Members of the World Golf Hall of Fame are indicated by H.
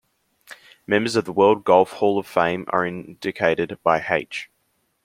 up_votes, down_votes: 2, 1